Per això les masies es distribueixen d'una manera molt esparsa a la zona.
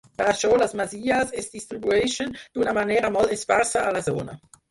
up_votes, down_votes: 0, 4